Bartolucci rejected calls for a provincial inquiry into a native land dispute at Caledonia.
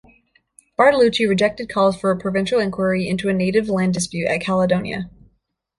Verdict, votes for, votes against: rejected, 0, 2